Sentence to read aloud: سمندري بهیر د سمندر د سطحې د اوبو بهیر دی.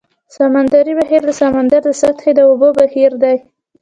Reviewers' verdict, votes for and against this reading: rejected, 0, 2